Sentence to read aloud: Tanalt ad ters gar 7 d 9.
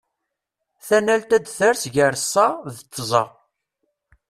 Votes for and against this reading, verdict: 0, 2, rejected